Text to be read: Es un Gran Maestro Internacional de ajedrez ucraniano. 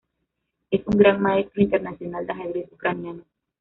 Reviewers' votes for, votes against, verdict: 2, 0, accepted